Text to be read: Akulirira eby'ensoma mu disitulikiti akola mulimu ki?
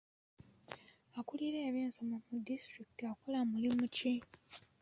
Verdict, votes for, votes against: accepted, 2, 1